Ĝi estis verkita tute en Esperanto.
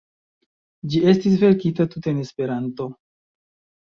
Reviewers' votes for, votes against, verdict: 1, 2, rejected